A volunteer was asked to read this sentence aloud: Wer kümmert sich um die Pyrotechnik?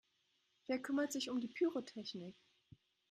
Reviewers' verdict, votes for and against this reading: accepted, 3, 0